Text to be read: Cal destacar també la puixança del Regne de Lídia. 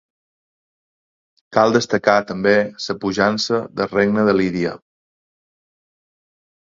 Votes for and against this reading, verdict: 1, 2, rejected